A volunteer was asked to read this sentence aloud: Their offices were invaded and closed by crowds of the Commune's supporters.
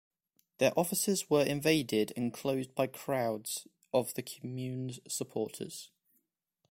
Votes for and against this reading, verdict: 2, 0, accepted